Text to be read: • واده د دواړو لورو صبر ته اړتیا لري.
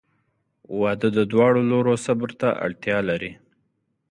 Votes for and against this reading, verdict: 2, 0, accepted